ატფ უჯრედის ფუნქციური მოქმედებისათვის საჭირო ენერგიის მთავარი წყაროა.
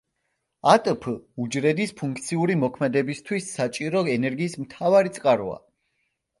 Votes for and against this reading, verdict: 2, 0, accepted